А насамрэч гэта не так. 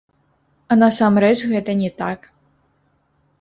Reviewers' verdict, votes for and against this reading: rejected, 1, 3